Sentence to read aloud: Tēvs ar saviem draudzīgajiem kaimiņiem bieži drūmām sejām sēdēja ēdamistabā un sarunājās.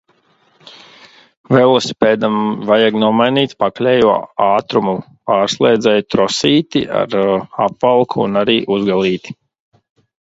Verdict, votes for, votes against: rejected, 0, 2